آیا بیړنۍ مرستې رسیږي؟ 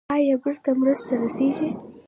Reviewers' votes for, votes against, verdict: 2, 1, accepted